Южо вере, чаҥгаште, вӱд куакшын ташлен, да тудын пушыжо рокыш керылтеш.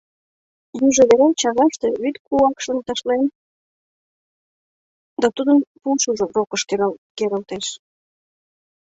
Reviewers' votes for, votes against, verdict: 0, 2, rejected